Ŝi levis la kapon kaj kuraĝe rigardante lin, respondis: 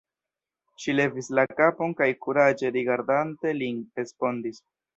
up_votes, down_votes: 0, 2